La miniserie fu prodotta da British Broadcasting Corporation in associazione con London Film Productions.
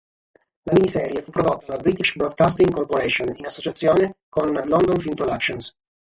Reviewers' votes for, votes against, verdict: 6, 0, accepted